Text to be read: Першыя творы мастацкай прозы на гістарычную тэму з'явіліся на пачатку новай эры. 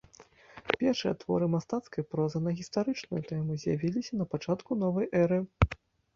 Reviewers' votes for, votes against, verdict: 1, 2, rejected